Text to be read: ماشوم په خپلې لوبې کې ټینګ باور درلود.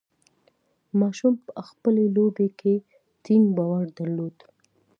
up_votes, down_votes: 2, 0